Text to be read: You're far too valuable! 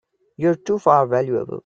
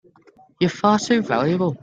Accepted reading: second